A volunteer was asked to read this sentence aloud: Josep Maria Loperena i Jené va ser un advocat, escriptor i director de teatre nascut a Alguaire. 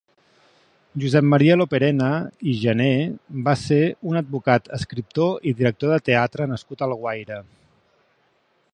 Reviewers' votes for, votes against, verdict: 4, 0, accepted